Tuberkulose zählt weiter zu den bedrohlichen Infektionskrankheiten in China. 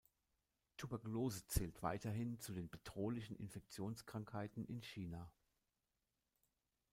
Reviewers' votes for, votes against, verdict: 0, 2, rejected